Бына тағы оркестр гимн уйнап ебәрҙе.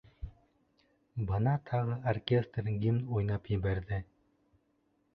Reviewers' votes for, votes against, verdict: 2, 1, accepted